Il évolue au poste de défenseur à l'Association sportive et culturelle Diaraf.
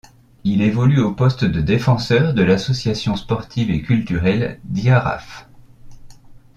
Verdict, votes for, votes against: rejected, 1, 2